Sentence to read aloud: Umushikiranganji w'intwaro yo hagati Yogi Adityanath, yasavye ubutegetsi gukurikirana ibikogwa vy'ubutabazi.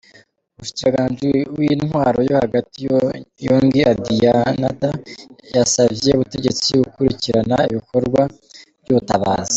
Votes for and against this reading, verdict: 1, 2, rejected